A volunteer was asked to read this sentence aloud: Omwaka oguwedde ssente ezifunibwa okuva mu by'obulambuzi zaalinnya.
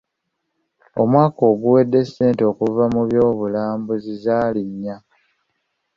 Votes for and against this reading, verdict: 1, 2, rejected